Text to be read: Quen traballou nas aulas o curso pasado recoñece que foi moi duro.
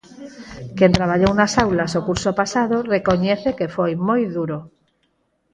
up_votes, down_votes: 4, 2